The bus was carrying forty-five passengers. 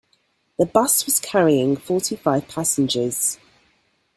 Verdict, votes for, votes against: accepted, 2, 0